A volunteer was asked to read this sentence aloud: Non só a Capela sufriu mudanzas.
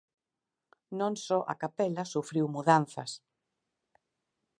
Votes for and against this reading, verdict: 4, 0, accepted